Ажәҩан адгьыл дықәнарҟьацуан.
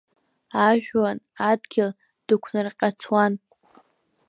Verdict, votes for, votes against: rejected, 1, 2